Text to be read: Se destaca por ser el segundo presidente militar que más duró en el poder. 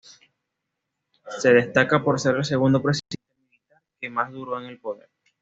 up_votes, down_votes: 1, 2